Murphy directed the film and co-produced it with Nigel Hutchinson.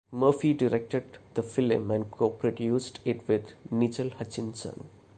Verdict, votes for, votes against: accepted, 2, 1